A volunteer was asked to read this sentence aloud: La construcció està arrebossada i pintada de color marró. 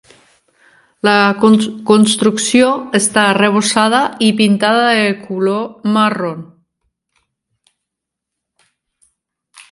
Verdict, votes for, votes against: rejected, 0, 2